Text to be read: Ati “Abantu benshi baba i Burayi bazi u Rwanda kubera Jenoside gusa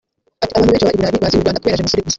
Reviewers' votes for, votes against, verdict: 1, 2, rejected